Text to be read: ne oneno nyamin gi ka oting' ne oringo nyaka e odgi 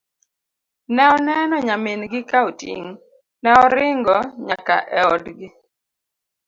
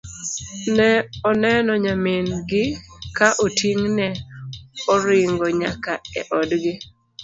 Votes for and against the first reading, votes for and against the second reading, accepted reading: 2, 0, 0, 2, first